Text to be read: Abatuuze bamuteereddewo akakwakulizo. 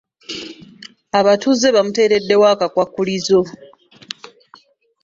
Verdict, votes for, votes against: accepted, 3, 1